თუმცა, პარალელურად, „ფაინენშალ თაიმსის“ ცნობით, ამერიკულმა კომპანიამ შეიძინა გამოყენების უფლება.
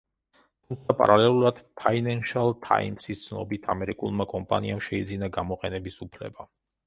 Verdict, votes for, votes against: rejected, 1, 2